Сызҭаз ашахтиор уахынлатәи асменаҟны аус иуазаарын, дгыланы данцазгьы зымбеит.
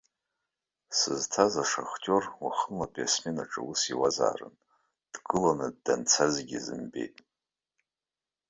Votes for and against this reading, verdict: 1, 2, rejected